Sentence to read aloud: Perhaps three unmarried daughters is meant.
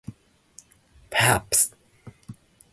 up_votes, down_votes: 0, 2